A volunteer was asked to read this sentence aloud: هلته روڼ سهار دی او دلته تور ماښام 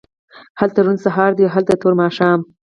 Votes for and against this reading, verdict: 4, 0, accepted